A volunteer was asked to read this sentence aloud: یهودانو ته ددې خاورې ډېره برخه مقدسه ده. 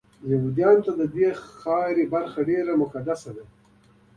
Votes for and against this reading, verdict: 0, 2, rejected